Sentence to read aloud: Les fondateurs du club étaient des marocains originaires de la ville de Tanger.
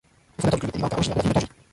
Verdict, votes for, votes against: rejected, 0, 2